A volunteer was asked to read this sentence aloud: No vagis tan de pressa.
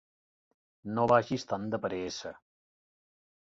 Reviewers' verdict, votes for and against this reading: rejected, 0, 2